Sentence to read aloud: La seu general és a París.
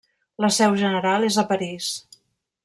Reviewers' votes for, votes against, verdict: 3, 0, accepted